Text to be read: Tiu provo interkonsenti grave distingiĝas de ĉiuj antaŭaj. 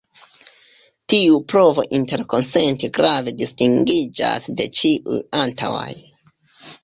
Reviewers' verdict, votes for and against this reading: rejected, 0, 2